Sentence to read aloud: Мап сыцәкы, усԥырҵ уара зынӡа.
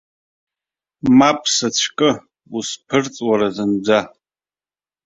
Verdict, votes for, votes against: accepted, 2, 0